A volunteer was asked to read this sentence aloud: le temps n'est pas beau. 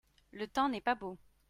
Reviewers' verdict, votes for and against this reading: accepted, 2, 0